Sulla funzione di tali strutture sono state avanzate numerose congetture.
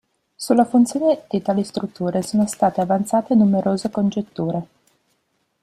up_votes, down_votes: 1, 2